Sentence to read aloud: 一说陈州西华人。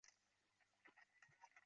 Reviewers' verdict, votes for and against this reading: rejected, 1, 2